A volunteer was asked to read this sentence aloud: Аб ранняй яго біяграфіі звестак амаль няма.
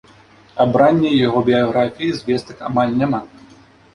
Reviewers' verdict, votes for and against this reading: accepted, 3, 0